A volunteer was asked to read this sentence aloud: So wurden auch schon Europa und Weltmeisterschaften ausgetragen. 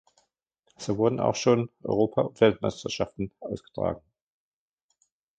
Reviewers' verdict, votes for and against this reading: rejected, 0, 2